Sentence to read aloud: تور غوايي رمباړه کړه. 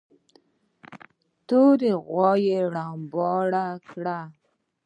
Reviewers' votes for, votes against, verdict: 1, 2, rejected